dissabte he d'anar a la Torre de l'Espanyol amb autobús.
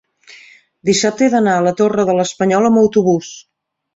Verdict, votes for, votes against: accepted, 3, 0